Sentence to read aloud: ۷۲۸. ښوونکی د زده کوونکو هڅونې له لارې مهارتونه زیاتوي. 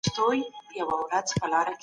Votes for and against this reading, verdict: 0, 2, rejected